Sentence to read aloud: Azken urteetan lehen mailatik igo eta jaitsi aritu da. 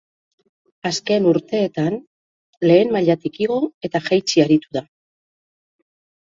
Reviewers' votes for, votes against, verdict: 2, 0, accepted